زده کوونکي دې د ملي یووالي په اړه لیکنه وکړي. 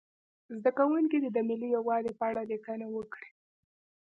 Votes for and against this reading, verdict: 2, 1, accepted